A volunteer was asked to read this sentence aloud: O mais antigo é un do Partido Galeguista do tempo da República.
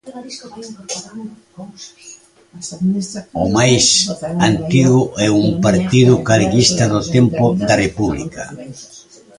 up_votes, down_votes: 0, 2